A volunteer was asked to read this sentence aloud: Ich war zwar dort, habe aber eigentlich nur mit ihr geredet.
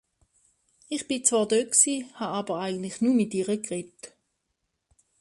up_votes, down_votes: 1, 3